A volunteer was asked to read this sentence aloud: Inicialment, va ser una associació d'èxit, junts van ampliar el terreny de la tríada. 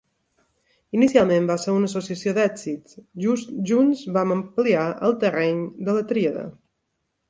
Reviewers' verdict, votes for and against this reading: rejected, 1, 2